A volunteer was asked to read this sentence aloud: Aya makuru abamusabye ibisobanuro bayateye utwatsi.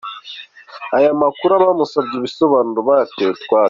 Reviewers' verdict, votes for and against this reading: accepted, 2, 0